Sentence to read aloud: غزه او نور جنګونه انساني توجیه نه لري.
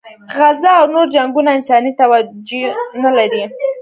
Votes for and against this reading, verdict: 1, 2, rejected